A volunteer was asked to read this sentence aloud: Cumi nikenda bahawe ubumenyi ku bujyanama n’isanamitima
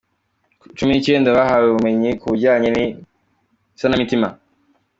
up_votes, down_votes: 2, 0